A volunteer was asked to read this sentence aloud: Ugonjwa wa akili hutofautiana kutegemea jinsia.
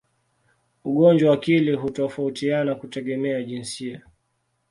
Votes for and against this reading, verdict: 2, 0, accepted